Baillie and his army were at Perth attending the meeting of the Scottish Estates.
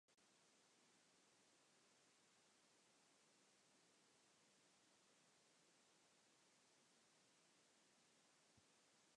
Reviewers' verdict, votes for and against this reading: rejected, 0, 3